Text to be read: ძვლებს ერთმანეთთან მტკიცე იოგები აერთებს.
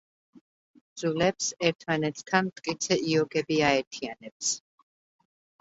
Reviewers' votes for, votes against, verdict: 0, 2, rejected